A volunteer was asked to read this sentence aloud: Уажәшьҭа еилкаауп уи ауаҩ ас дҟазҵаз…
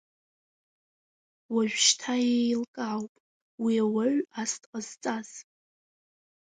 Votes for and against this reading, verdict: 1, 2, rejected